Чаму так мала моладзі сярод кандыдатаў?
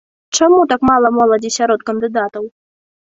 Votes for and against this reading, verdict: 2, 0, accepted